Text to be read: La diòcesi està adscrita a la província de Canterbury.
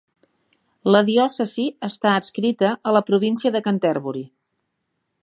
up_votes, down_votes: 2, 0